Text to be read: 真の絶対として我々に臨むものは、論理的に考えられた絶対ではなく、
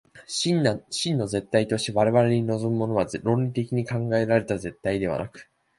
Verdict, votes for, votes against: accepted, 2, 0